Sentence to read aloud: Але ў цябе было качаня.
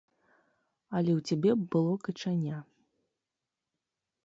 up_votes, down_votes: 0, 3